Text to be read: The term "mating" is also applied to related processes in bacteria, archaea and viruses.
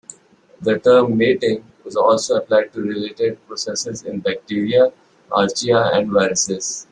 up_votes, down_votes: 0, 3